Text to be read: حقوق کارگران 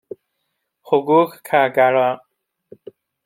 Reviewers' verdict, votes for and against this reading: accepted, 2, 0